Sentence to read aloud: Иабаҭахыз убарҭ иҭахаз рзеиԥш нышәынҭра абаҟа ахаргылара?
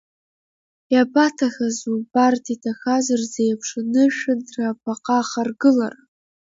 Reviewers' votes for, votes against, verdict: 2, 1, accepted